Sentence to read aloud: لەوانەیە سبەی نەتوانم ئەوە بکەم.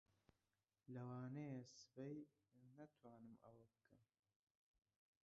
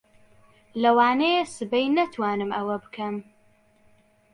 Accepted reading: second